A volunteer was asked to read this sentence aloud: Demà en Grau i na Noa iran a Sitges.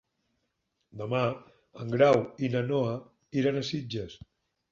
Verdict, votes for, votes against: accepted, 6, 0